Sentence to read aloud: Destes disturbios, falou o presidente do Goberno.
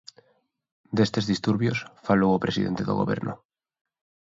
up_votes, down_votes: 3, 0